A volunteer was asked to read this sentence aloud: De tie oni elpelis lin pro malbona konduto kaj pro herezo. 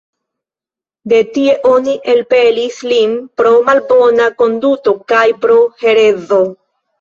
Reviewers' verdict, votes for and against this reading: accepted, 2, 1